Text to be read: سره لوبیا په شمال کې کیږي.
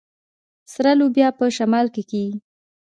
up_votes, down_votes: 1, 2